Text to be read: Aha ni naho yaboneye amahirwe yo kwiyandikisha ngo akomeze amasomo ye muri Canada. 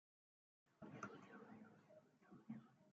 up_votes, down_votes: 0, 3